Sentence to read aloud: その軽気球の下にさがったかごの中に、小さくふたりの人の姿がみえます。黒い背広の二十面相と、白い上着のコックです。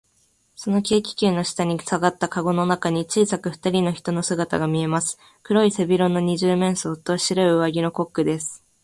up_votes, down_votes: 2, 0